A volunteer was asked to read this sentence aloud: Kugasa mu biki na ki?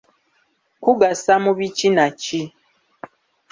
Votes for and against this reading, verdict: 2, 0, accepted